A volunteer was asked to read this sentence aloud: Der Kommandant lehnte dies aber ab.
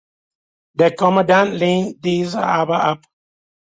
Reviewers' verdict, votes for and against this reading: rejected, 1, 2